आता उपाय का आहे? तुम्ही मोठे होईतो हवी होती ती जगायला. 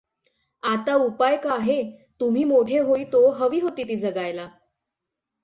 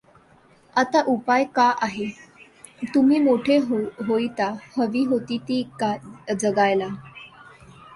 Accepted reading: first